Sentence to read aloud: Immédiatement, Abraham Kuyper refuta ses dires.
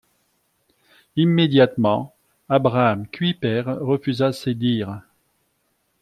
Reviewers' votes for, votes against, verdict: 1, 2, rejected